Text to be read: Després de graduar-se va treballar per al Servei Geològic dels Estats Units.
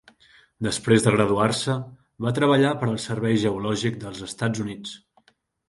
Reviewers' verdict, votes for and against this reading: accepted, 4, 0